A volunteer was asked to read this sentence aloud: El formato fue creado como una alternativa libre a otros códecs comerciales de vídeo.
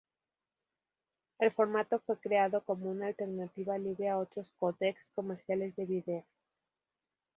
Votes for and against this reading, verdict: 2, 0, accepted